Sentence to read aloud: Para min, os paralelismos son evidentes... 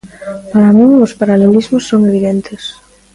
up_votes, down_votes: 2, 0